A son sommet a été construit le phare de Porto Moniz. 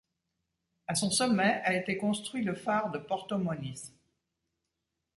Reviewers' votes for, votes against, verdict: 1, 2, rejected